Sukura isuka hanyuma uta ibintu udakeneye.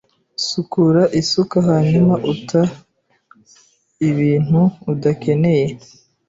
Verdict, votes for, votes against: accepted, 2, 0